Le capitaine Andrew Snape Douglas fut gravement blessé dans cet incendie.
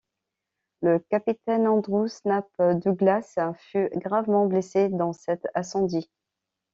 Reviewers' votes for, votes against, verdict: 2, 0, accepted